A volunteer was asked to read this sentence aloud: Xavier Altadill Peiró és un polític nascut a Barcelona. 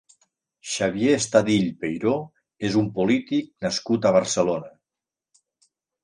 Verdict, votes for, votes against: rejected, 1, 2